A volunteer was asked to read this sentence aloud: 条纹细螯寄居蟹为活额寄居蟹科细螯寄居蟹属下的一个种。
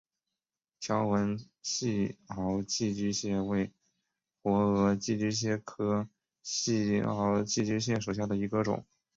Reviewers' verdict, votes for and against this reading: rejected, 2, 2